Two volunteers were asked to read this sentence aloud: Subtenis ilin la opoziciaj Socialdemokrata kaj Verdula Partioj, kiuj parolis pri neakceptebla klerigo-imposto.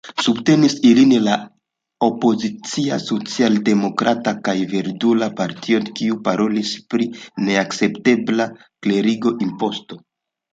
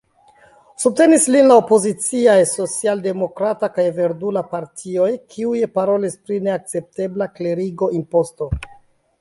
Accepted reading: first